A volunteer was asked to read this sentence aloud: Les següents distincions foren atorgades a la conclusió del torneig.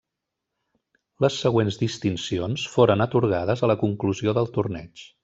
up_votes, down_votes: 3, 0